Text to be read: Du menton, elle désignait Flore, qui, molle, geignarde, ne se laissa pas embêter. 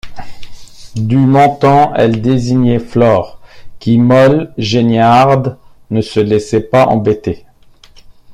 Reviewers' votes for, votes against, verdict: 1, 2, rejected